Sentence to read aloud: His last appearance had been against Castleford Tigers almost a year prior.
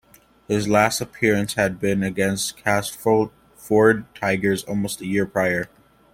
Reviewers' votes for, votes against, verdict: 2, 1, accepted